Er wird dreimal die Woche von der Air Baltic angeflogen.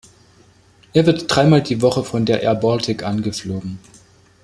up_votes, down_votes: 2, 0